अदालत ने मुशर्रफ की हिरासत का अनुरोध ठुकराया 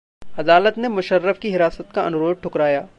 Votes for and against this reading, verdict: 2, 0, accepted